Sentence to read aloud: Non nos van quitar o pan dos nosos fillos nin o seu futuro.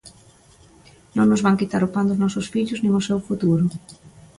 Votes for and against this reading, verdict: 2, 0, accepted